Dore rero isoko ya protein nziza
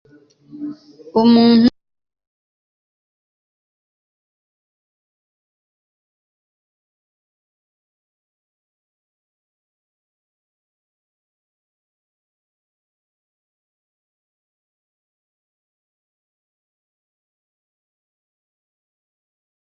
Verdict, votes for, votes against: rejected, 1, 2